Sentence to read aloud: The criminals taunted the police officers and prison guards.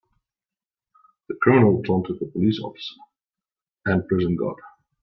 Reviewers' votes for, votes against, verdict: 0, 2, rejected